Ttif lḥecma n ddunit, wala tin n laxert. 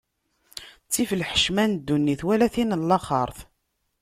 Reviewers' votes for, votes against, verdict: 2, 1, accepted